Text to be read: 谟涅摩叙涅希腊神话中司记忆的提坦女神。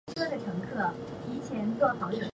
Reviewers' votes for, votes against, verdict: 0, 5, rejected